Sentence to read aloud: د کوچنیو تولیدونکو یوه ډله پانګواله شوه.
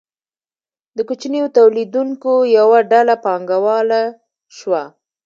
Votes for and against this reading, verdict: 2, 0, accepted